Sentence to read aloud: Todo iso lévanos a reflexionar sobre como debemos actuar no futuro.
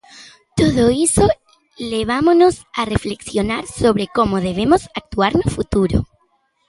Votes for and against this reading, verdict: 0, 2, rejected